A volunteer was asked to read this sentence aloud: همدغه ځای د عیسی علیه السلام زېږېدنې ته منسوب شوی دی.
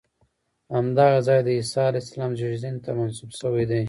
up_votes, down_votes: 2, 1